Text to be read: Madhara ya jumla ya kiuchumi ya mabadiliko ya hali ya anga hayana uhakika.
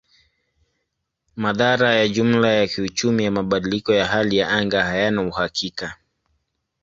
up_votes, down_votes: 2, 0